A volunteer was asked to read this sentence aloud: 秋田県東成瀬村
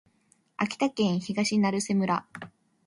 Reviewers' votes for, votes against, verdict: 2, 0, accepted